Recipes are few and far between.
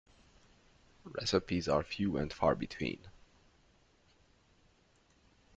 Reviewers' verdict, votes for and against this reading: accepted, 2, 0